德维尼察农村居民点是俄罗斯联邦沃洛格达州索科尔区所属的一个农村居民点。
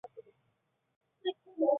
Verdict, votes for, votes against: rejected, 2, 7